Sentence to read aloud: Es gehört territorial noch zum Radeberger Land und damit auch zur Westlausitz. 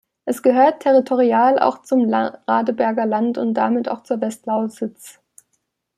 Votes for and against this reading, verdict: 0, 2, rejected